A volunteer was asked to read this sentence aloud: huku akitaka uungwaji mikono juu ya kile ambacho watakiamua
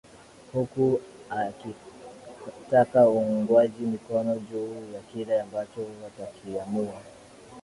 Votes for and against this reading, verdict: 2, 1, accepted